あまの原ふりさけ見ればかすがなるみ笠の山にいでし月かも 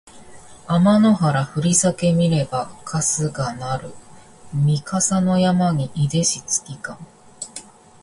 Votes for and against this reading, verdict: 2, 1, accepted